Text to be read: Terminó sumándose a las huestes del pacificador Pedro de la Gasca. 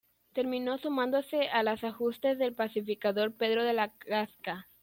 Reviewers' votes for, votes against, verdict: 0, 2, rejected